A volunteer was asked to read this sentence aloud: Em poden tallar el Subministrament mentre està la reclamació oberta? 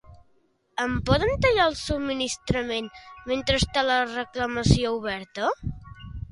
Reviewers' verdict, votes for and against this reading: accepted, 2, 0